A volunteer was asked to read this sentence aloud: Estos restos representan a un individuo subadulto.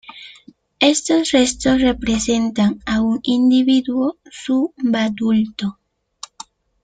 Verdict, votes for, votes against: rejected, 0, 3